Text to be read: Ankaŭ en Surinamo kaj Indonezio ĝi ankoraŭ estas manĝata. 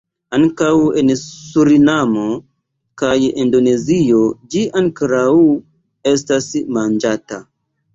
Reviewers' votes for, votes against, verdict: 2, 0, accepted